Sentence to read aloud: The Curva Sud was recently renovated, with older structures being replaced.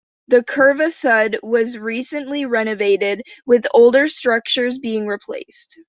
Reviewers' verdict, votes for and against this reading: accepted, 2, 0